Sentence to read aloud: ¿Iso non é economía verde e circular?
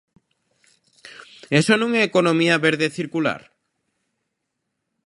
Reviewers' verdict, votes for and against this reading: rejected, 0, 2